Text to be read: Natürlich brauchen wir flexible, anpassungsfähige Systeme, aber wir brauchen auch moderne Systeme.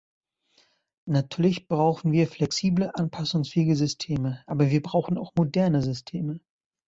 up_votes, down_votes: 2, 0